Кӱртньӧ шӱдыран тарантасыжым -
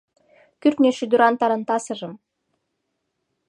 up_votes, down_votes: 2, 0